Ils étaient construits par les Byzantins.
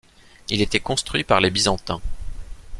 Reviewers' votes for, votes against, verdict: 1, 2, rejected